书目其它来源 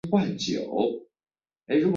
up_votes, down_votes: 0, 2